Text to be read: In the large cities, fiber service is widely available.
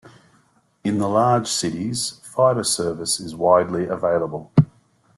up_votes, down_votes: 2, 0